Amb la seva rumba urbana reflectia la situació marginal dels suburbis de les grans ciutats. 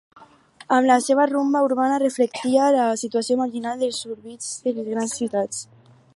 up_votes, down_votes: 0, 4